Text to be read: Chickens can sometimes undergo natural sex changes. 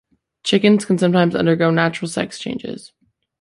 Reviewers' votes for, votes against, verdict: 2, 0, accepted